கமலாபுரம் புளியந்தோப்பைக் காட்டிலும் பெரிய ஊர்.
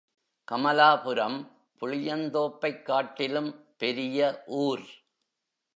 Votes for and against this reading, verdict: 2, 0, accepted